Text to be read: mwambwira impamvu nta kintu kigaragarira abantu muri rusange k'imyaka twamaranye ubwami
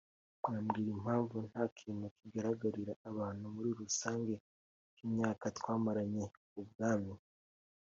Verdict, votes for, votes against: accepted, 2, 1